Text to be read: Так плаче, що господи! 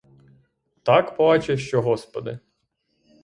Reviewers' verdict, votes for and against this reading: accepted, 6, 0